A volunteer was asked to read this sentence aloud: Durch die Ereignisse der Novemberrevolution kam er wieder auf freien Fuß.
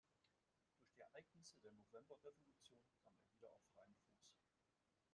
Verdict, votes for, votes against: rejected, 0, 2